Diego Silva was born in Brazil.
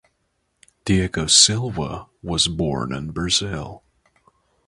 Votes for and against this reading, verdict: 3, 3, rejected